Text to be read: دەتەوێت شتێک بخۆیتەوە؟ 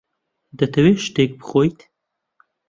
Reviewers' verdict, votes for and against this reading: rejected, 0, 2